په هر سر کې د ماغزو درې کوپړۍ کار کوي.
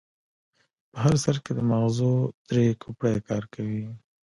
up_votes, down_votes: 2, 0